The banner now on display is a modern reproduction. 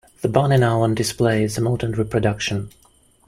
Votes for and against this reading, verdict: 2, 0, accepted